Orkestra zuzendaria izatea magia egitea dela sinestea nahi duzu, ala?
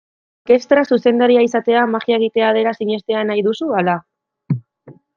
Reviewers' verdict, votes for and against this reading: rejected, 1, 2